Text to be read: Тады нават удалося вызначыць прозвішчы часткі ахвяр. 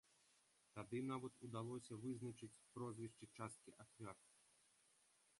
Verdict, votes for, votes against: rejected, 0, 2